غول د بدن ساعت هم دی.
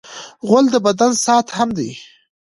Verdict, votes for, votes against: accepted, 2, 0